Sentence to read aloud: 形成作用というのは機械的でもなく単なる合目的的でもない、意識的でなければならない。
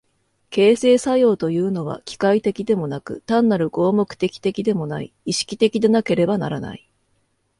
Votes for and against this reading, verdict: 2, 0, accepted